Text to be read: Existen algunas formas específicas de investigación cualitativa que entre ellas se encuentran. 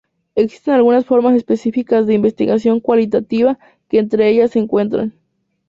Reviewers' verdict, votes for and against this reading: rejected, 0, 2